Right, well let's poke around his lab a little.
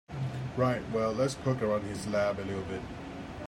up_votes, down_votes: 0, 2